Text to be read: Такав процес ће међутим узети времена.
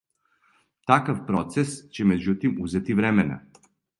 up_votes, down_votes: 2, 0